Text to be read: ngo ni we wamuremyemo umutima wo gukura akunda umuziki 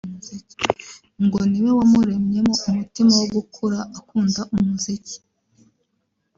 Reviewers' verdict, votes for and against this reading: rejected, 0, 2